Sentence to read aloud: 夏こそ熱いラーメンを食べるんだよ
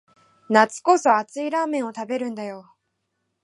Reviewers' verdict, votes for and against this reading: accepted, 2, 1